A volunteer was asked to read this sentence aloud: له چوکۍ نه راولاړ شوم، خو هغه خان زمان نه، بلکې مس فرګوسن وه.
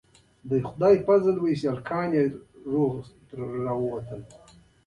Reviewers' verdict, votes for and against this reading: rejected, 0, 2